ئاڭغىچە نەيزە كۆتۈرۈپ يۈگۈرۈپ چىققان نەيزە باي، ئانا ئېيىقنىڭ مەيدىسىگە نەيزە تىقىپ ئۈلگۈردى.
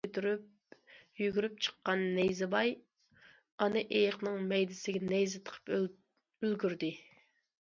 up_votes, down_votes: 0, 2